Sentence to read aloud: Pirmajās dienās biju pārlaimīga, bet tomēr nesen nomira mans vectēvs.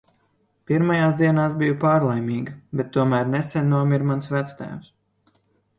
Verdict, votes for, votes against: accepted, 2, 0